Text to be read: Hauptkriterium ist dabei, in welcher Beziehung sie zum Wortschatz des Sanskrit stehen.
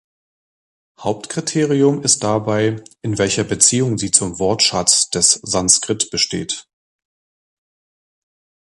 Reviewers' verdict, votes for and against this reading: rejected, 0, 2